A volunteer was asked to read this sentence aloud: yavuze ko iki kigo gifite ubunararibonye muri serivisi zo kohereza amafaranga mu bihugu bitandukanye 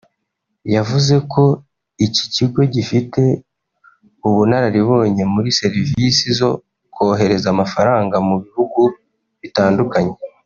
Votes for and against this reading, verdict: 1, 2, rejected